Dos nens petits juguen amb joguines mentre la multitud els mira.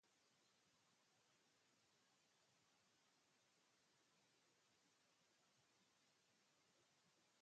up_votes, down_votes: 0, 4